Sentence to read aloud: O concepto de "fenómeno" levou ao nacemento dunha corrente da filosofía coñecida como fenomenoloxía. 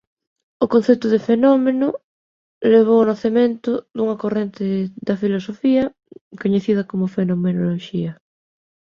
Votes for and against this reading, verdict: 0, 2, rejected